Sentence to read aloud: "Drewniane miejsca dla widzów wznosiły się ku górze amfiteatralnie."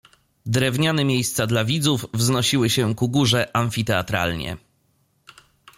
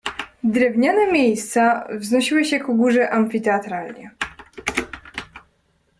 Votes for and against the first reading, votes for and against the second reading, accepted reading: 2, 0, 0, 2, first